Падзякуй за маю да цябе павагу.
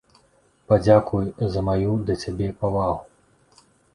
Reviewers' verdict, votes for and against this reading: accepted, 2, 0